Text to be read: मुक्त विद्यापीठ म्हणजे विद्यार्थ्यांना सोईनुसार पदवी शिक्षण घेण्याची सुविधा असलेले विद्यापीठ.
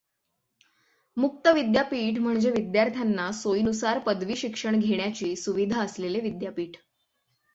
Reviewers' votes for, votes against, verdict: 6, 0, accepted